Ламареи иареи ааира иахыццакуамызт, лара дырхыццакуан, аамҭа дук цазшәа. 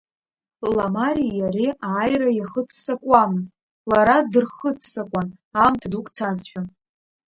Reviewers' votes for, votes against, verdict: 2, 0, accepted